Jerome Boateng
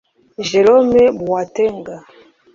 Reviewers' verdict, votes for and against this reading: rejected, 0, 2